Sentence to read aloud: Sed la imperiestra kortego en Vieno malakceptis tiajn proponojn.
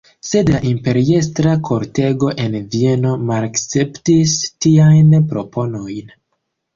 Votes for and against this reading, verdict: 2, 0, accepted